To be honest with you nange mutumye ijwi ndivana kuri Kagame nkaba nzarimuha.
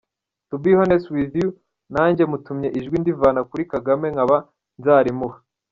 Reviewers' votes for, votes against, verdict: 1, 2, rejected